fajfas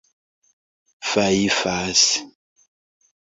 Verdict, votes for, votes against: rejected, 1, 2